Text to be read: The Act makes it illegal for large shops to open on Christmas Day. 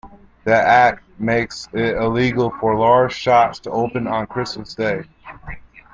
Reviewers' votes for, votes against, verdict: 2, 0, accepted